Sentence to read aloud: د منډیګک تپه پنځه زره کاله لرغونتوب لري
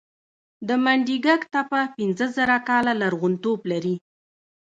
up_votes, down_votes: 1, 2